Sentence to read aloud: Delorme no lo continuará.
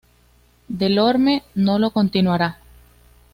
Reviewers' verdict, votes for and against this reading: accepted, 2, 0